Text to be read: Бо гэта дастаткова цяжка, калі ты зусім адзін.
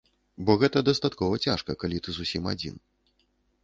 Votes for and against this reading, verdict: 2, 0, accepted